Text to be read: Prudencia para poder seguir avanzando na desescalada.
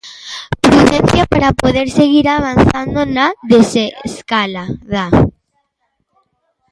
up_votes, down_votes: 0, 2